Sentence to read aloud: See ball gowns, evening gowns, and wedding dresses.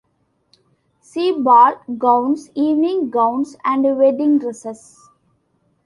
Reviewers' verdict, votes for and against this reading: accepted, 2, 0